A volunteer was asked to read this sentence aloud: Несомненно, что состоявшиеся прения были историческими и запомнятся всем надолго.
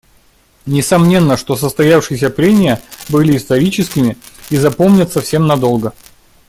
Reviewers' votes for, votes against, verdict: 2, 0, accepted